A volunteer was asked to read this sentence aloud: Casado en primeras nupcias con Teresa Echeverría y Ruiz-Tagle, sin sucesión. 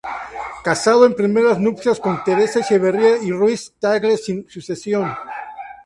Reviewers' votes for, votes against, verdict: 2, 0, accepted